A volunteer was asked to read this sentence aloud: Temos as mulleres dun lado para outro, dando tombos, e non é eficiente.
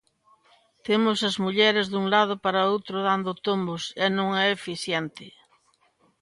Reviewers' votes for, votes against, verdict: 2, 0, accepted